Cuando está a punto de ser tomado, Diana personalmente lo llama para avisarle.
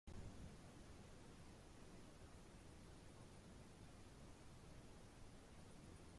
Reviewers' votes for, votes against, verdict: 0, 2, rejected